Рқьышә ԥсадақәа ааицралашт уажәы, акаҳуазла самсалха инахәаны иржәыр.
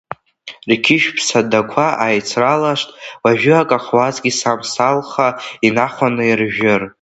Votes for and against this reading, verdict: 0, 2, rejected